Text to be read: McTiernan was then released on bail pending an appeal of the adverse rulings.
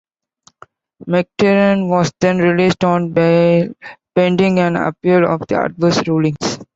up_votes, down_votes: 2, 1